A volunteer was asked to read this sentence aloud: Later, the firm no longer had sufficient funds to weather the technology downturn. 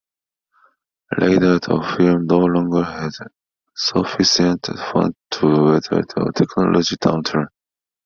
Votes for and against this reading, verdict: 0, 2, rejected